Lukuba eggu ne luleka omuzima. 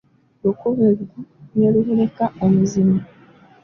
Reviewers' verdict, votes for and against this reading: rejected, 1, 2